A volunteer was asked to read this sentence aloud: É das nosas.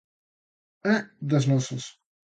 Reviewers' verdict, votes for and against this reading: accepted, 2, 1